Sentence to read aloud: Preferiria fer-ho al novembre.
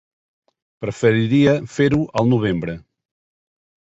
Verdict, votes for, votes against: accepted, 3, 0